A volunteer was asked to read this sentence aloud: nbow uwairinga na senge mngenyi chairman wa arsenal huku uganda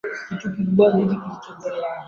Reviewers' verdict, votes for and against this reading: rejected, 0, 2